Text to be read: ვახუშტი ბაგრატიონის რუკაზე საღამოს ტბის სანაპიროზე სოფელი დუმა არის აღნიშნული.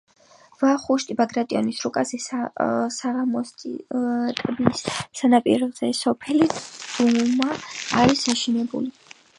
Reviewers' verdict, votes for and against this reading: rejected, 0, 4